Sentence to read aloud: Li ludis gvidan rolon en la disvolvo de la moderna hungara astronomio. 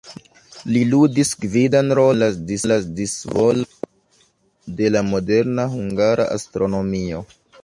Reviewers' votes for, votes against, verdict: 0, 2, rejected